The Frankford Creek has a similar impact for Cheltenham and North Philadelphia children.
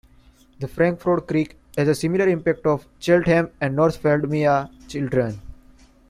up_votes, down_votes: 1, 2